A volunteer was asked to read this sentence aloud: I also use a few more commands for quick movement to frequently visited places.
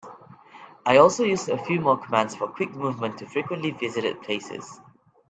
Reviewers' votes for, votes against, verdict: 3, 0, accepted